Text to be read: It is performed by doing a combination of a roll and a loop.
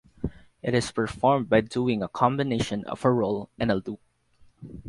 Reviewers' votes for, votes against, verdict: 2, 2, rejected